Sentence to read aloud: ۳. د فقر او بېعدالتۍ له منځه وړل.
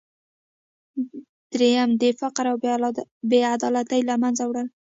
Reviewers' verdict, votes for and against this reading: rejected, 0, 2